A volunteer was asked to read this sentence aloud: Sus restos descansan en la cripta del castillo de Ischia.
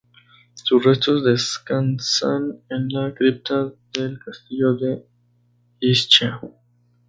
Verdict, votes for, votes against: rejected, 0, 2